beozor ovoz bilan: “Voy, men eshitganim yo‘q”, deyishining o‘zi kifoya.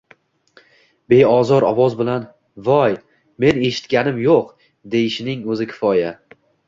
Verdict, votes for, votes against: accepted, 2, 1